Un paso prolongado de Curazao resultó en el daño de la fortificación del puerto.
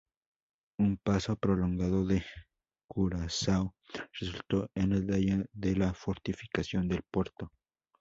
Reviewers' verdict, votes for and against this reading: rejected, 0, 2